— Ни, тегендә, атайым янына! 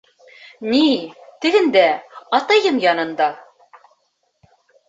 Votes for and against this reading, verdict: 0, 3, rejected